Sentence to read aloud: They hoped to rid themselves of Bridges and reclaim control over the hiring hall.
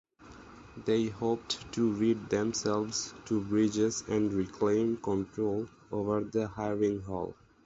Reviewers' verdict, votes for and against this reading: rejected, 0, 4